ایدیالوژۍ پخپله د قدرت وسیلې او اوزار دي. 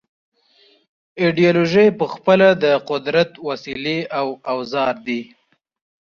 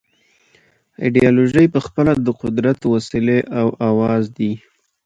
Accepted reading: first